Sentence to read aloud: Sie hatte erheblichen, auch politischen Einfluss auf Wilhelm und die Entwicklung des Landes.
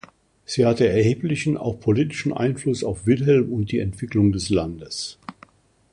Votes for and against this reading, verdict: 2, 0, accepted